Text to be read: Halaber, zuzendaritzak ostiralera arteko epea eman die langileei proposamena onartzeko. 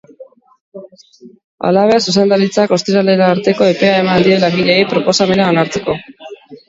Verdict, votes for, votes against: accepted, 2, 0